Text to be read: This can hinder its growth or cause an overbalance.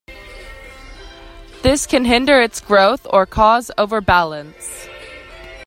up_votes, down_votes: 0, 2